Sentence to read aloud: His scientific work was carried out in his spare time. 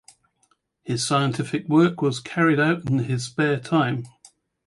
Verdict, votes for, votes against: accepted, 2, 0